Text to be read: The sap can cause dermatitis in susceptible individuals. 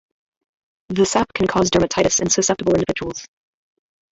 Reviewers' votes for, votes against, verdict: 0, 2, rejected